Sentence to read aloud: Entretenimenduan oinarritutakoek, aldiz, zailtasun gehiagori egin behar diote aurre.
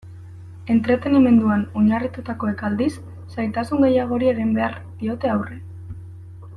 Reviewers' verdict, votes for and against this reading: rejected, 1, 2